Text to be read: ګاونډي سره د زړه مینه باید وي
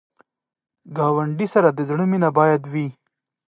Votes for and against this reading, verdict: 2, 0, accepted